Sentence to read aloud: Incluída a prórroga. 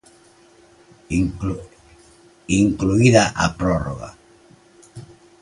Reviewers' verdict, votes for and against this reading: rejected, 0, 2